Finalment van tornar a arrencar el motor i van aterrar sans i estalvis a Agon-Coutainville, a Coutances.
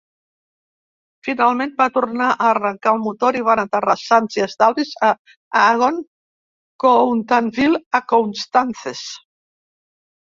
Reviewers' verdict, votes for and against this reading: accepted, 2, 0